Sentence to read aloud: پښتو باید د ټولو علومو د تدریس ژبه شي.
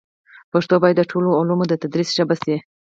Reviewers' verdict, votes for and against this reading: accepted, 4, 2